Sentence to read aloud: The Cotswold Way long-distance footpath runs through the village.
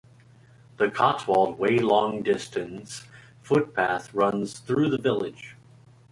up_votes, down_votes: 2, 1